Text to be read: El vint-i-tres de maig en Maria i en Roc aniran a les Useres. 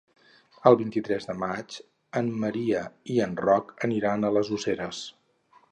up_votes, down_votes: 2, 0